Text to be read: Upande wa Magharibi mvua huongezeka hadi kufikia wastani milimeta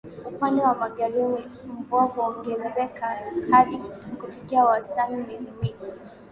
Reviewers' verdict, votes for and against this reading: accepted, 2, 0